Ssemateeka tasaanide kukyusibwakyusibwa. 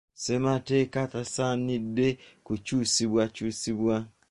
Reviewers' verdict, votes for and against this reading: accepted, 2, 0